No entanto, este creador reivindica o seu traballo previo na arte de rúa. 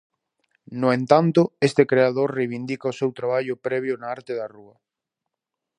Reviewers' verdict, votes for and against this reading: rejected, 0, 2